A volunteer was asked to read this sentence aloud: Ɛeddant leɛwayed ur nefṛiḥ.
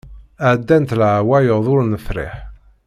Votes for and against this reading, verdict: 1, 2, rejected